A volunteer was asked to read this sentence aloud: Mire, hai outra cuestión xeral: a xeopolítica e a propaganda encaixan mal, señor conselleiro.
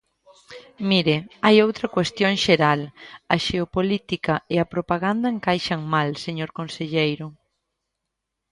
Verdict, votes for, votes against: accepted, 2, 0